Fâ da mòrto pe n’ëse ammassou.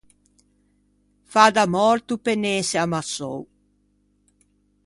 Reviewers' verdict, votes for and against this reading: accepted, 2, 0